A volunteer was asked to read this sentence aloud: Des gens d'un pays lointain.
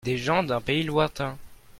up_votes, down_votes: 2, 0